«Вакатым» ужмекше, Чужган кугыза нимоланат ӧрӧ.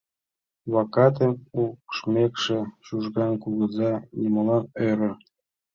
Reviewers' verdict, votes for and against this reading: rejected, 0, 2